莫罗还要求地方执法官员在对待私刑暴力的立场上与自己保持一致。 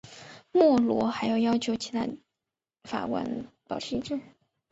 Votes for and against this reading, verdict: 1, 2, rejected